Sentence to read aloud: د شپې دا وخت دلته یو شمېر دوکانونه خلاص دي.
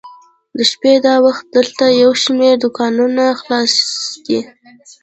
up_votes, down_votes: 1, 2